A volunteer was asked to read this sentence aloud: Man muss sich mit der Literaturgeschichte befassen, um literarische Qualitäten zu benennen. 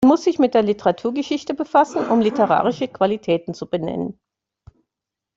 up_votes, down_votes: 2, 1